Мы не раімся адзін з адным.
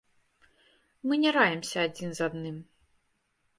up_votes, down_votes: 1, 2